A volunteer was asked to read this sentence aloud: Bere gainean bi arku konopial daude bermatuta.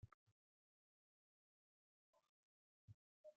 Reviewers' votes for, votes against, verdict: 0, 2, rejected